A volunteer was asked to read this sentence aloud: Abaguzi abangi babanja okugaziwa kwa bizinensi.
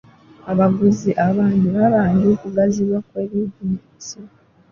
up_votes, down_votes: 1, 2